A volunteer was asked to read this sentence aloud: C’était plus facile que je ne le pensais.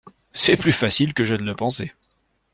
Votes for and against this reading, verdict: 1, 2, rejected